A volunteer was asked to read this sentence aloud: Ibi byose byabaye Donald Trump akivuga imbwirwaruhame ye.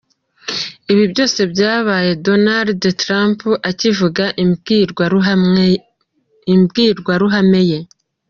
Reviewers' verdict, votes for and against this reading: rejected, 0, 2